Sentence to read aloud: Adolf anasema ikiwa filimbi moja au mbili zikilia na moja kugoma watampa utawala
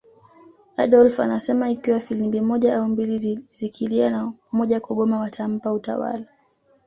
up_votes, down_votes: 2, 0